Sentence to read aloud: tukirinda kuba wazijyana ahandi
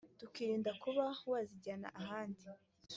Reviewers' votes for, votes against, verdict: 2, 0, accepted